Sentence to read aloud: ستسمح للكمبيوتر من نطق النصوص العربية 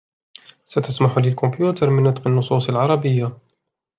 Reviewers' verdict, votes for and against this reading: accepted, 2, 0